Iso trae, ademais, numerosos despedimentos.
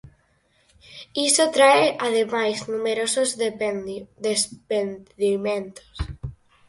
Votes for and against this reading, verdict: 0, 4, rejected